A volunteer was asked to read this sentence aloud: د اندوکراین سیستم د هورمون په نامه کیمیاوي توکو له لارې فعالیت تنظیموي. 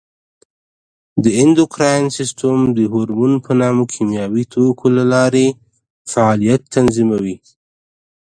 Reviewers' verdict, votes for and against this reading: accepted, 2, 1